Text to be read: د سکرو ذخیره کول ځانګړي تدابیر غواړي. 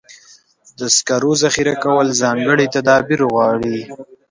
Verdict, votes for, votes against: rejected, 0, 2